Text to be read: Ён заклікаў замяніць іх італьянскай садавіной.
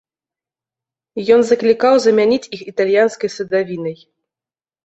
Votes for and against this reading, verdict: 0, 2, rejected